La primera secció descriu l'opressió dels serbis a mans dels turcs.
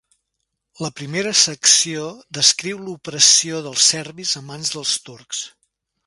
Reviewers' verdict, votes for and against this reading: accepted, 2, 0